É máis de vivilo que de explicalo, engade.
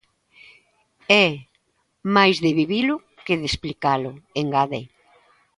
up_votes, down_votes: 3, 0